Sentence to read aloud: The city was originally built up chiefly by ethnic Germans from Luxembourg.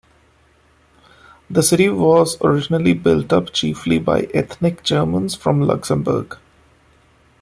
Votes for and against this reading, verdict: 2, 1, accepted